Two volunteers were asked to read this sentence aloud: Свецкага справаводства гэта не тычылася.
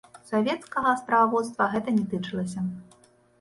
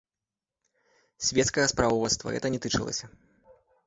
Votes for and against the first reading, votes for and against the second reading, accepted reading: 1, 2, 2, 1, second